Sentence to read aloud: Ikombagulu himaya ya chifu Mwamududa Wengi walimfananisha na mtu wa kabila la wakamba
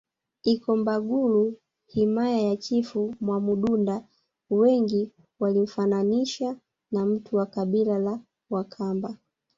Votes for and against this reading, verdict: 1, 2, rejected